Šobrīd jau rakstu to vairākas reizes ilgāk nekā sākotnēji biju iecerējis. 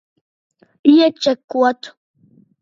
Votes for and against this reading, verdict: 0, 2, rejected